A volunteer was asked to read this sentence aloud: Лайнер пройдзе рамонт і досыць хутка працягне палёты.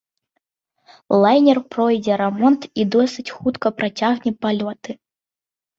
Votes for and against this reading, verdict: 2, 0, accepted